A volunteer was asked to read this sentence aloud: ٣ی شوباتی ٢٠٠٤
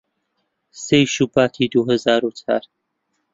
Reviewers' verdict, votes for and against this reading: rejected, 0, 2